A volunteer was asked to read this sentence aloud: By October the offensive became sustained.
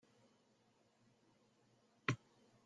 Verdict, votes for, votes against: rejected, 0, 2